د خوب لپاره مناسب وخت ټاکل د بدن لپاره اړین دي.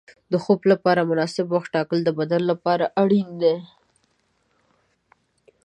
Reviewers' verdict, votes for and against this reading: accepted, 4, 0